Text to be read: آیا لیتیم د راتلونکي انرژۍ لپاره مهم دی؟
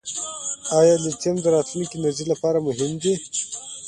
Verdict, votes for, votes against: accepted, 2, 0